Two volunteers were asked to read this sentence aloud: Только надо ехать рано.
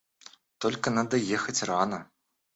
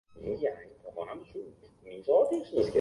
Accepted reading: first